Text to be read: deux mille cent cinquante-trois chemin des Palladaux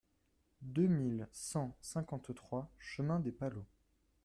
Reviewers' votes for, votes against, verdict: 0, 2, rejected